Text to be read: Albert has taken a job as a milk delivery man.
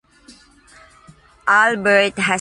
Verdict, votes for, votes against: rejected, 0, 2